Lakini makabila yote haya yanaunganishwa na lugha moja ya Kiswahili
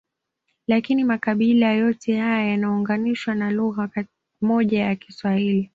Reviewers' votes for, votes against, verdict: 2, 0, accepted